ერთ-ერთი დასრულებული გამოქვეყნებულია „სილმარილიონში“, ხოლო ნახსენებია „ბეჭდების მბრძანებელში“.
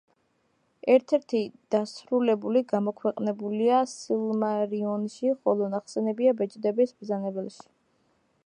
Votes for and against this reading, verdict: 2, 0, accepted